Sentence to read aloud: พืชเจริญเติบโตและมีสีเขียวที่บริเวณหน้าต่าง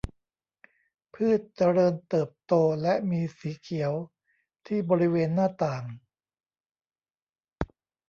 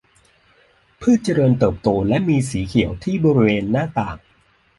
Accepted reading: second